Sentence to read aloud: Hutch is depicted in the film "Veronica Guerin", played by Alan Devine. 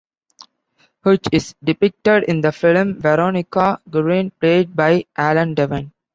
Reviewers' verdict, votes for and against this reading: rejected, 0, 2